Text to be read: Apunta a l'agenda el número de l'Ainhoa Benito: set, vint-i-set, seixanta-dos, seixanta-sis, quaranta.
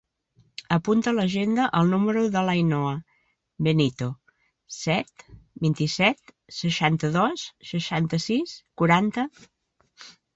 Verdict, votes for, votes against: rejected, 1, 2